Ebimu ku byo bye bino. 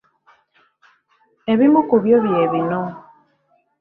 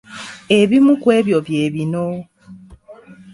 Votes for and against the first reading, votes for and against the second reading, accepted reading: 2, 0, 1, 2, first